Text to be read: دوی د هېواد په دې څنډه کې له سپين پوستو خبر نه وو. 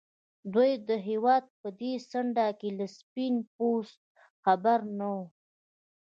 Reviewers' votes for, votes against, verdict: 2, 0, accepted